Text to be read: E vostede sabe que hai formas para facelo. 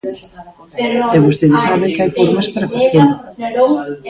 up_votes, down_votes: 0, 2